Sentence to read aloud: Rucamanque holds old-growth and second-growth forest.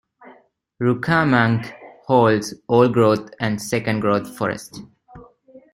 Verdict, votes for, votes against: accepted, 2, 0